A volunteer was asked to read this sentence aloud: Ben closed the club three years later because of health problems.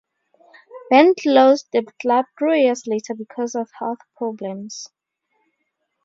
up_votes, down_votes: 4, 0